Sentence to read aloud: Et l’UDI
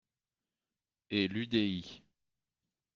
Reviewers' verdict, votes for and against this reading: accepted, 2, 0